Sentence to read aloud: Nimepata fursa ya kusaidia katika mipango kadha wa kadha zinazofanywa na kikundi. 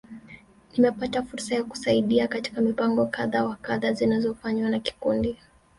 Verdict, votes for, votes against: rejected, 0, 2